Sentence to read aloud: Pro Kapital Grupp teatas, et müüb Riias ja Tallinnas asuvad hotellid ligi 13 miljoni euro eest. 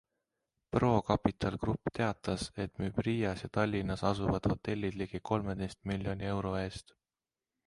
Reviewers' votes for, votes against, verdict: 0, 2, rejected